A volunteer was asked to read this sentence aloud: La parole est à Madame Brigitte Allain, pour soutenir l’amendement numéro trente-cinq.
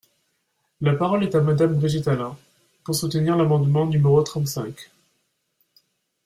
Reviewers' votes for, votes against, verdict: 2, 0, accepted